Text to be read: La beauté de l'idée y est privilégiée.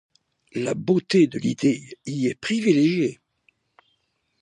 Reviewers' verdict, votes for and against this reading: accepted, 2, 0